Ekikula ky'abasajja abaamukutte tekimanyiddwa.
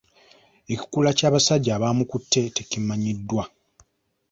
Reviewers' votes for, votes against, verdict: 2, 1, accepted